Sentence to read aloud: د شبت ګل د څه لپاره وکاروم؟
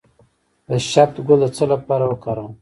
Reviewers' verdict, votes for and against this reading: rejected, 0, 2